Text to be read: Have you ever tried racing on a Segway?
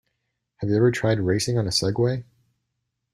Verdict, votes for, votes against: accepted, 2, 0